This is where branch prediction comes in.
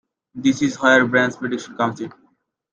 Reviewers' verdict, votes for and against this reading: accepted, 2, 1